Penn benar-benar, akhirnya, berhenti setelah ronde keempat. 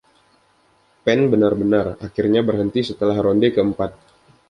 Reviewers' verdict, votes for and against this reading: accepted, 2, 0